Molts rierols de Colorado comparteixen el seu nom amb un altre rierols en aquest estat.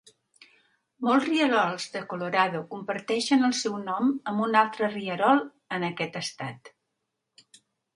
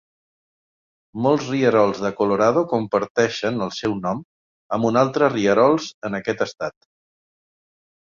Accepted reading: second